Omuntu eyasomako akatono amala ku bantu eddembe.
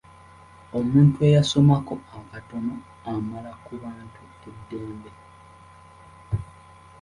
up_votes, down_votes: 2, 1